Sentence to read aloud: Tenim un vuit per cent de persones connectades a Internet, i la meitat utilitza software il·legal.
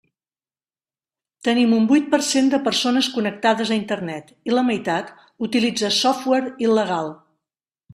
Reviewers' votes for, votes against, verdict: 3, 1, accepted